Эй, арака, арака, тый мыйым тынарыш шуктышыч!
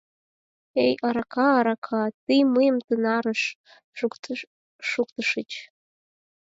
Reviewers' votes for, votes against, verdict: 4, 2, accepted